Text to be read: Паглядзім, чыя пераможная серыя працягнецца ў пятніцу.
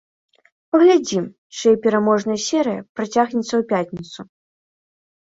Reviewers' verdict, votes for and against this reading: accepted, 2, 1